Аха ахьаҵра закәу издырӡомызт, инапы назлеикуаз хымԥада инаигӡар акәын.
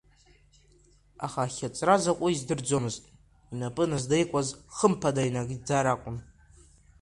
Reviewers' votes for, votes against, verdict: 2, 0, accepted